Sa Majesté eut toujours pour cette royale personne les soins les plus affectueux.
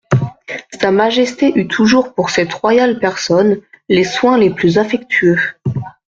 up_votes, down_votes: 2, 0